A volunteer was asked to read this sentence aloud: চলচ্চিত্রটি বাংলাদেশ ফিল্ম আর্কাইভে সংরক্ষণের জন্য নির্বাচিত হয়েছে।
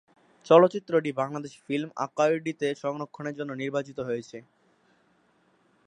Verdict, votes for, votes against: rejected, 1, 2